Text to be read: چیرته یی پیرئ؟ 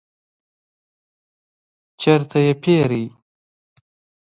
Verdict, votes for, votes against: accepted, 2, 0